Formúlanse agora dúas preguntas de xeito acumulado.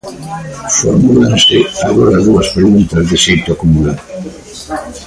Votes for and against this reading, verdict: 0, 2, rejected